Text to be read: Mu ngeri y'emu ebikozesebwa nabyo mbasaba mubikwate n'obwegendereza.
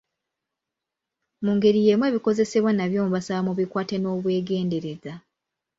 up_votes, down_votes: 2, 0